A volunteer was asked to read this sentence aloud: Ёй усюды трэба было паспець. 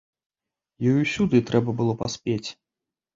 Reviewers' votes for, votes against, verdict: 2, 0, accepted